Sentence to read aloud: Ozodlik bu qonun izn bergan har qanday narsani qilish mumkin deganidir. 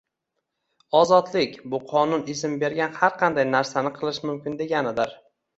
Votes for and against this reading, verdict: 2, 0, accepted